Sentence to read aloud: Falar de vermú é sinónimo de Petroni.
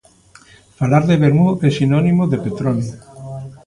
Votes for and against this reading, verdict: 2, 0, accepted